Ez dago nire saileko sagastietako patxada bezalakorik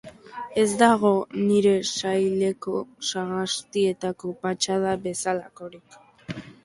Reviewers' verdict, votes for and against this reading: accepted, 2, 0